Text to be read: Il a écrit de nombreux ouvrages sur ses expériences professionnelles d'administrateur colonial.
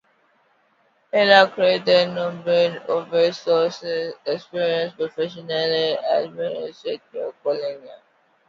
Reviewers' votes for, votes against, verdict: 1, 2, rejected